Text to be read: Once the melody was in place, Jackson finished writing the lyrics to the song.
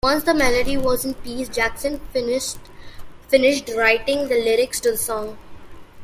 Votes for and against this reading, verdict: 0, 2, rejected